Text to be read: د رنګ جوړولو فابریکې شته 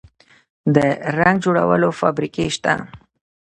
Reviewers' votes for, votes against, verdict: 2, 0, accepted